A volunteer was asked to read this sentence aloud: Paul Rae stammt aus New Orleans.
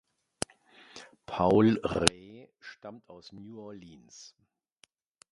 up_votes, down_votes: 2, 1